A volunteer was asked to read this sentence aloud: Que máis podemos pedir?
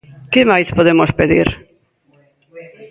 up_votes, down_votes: 0, 2